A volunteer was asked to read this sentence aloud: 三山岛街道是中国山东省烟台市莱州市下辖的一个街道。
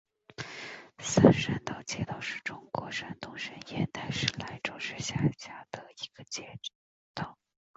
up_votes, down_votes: 0, 2